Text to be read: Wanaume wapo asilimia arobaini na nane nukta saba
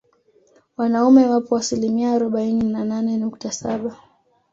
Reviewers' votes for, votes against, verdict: 2, 0, accepted